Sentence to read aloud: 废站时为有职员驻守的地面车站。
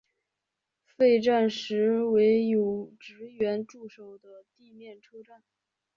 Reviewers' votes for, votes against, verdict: 0, 4, rejected